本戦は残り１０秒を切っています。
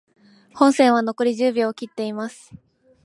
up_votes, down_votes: 0, 2